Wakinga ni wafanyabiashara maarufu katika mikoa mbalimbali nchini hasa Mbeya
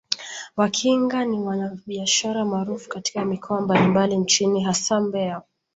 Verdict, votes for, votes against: rejected, 0, 2